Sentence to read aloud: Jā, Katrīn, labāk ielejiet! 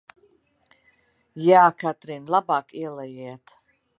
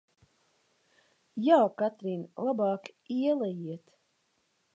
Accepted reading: second